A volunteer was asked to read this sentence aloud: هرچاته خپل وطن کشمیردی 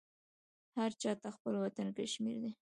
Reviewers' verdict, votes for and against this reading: accepted, 2, 1